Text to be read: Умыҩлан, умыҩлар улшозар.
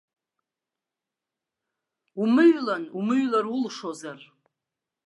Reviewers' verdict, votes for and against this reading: accepted, 2, 1